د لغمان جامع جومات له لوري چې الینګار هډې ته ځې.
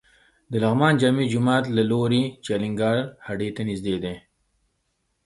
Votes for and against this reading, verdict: 2, 0, accepted